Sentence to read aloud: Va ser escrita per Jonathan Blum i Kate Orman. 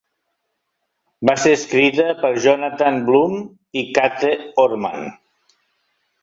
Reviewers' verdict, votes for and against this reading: rejected, 0, 2